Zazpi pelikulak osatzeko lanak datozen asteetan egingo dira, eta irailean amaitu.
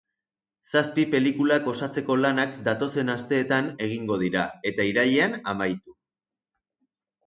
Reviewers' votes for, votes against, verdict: 2, 0, accepted